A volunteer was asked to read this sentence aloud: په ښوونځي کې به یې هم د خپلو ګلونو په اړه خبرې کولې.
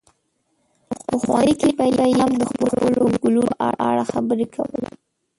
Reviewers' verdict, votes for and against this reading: rejected, 0, 2